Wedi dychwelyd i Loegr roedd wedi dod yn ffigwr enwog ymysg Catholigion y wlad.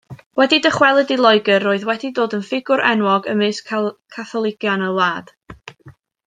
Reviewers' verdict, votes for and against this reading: rejected, 0, 2